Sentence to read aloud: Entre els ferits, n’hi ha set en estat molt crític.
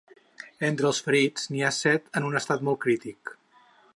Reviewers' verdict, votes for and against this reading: rejected, 4, 6